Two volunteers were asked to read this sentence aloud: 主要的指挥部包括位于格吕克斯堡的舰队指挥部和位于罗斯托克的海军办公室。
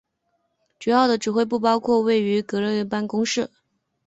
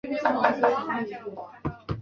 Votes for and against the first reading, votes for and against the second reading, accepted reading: 0, 3, 3, 1, second